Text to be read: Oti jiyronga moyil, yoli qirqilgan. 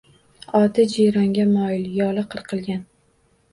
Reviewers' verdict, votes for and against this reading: accepted, 2, 0